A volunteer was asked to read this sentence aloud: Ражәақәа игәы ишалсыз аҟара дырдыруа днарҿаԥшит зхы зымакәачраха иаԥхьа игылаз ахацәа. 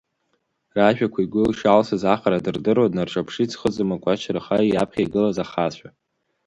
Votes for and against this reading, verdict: 4, 2, accepted